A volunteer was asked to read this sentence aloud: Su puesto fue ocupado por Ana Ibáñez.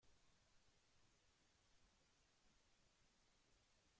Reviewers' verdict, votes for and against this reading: rejected, 0, 2